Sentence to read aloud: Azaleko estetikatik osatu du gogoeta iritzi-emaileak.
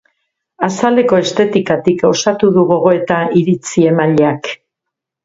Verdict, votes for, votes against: accepted, 2, 0